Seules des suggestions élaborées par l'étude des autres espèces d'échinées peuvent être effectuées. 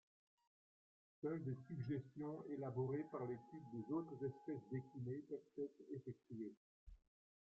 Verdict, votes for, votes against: rejected, 0, 2